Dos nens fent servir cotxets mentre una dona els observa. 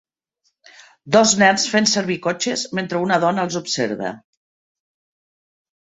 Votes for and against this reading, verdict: 1, 2, rejected